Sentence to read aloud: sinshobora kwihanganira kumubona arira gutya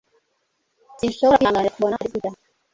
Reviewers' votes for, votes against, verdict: 1, 2, rejected